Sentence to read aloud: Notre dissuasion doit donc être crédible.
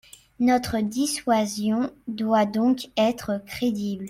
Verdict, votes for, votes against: rejected, 0, 2